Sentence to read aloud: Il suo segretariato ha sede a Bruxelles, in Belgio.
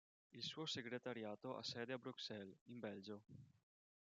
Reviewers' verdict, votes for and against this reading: rejected, 1, 2